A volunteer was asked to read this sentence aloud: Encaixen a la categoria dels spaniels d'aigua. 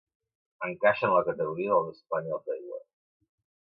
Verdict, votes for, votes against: rejected, 1, 2